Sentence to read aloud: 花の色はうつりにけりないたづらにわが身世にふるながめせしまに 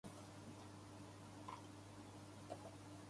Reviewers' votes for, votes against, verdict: 0, 2, rejected